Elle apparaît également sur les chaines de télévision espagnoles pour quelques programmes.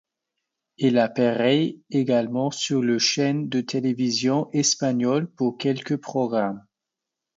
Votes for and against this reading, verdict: 0, 2, rejected